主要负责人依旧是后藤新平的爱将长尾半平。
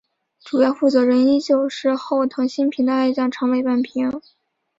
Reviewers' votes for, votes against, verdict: 3, 0, accepted